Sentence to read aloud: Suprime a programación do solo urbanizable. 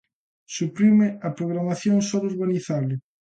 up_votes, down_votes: 0, 2